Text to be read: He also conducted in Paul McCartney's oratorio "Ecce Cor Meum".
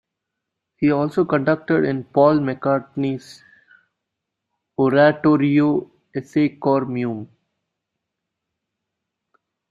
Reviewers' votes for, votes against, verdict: 0, 2, rejected